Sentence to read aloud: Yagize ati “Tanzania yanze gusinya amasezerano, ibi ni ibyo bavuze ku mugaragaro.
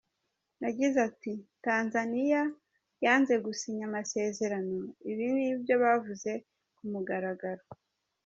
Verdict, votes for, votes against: accepted, 2, 0